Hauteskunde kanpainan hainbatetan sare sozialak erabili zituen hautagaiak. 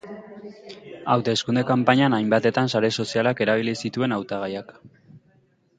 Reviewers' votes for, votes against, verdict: 3, 0, accepted